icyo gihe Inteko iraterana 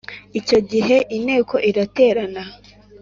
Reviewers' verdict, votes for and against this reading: accepted, 2, 0